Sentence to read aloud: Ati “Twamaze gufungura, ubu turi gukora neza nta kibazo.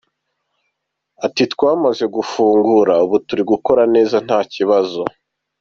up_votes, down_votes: 2, 0